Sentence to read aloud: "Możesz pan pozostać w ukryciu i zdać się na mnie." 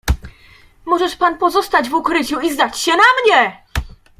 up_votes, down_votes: 2, 0